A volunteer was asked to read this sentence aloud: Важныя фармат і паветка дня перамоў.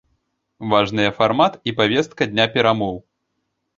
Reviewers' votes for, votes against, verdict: 0, 2, rejected